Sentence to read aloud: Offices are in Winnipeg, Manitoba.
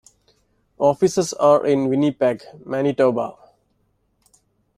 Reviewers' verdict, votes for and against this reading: accepted, 2, 0